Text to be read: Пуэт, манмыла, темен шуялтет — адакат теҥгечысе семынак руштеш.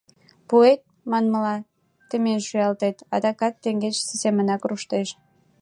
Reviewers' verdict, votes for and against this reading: accepted, 2, 0